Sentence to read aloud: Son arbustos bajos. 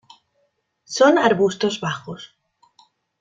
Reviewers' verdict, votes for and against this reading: accepted, 2, 0